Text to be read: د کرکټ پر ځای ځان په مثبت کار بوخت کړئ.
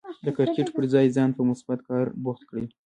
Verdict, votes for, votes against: accepted, 2, 0